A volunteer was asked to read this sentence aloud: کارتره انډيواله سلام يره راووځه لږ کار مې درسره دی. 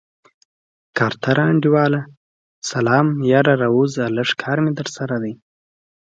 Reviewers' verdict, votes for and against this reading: accepted, 2, 0